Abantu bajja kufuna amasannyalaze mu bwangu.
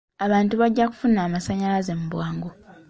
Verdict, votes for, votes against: accepted, 3, 2